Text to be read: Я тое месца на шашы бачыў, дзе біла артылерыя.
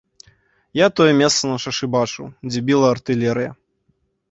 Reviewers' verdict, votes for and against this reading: accepted, 2, 0